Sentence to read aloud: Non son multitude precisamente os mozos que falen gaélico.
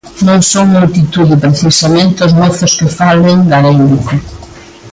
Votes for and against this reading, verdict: 2, 0, accepted